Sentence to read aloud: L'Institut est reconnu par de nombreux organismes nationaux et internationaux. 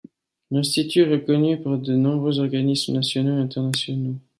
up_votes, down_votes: 2, 0